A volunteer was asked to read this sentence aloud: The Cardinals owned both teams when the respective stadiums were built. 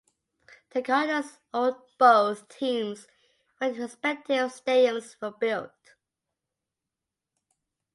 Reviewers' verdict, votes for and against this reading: accepted, 2, 0